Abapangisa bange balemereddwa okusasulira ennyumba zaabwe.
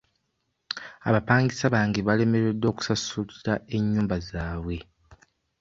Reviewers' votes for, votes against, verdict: 1, 2, rejected